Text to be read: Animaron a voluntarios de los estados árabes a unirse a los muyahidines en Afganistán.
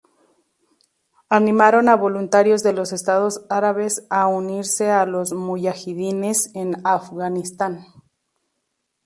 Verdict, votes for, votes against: rejected, 0, 2